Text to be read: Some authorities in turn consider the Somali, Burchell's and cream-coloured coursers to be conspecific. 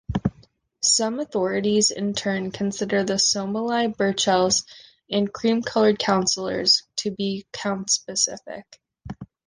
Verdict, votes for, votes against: rejected, 1, 2